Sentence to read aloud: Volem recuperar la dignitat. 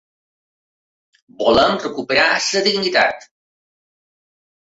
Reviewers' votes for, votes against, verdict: 1, 2, rejected